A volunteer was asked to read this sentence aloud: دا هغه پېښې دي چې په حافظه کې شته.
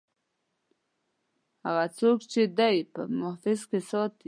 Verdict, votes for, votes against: rejected, 0, 2